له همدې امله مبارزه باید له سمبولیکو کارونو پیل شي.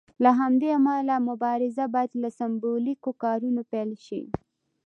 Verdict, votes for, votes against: accepted, 2, 0